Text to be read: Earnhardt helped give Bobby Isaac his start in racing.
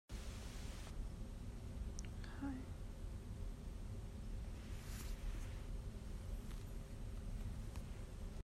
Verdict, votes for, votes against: rejected, 0, 2